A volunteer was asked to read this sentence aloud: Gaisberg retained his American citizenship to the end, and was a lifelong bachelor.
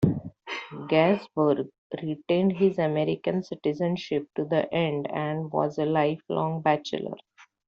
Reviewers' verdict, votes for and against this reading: accepted, 2, 1